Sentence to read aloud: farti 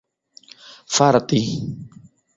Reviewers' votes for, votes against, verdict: 1, 2, rejected